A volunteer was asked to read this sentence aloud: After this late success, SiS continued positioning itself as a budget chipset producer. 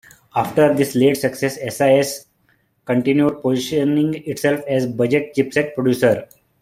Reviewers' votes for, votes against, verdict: 2, 0, accepted